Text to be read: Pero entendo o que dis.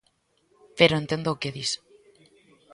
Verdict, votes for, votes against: accepted, 2, 0